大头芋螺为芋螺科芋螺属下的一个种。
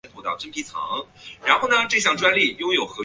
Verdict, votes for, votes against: rejected, 1, 2